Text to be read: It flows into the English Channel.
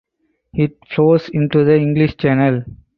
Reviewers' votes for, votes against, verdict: 2, 4, rejected